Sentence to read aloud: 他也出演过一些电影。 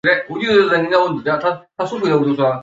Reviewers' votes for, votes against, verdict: 3, 6, rejected